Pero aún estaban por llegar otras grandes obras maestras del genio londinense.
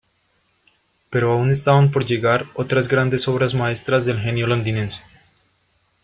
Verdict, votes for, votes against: accepted, 2, 0